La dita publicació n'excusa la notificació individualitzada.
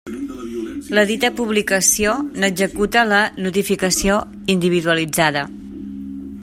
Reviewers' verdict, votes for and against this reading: rejected, 0, 2